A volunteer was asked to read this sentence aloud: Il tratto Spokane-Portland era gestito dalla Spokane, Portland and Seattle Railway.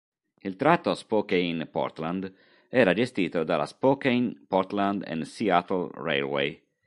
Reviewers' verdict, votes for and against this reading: accepted, 2, 0